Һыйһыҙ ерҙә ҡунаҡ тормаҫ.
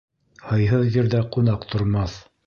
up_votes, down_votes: 2, 0